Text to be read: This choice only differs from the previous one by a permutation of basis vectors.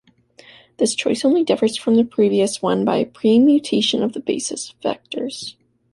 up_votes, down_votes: 1, 2